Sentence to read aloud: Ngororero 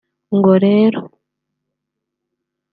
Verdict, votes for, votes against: rejected, 1, 2